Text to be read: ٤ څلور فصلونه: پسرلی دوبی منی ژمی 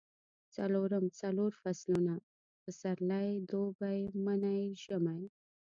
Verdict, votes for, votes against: rejected, 0, 2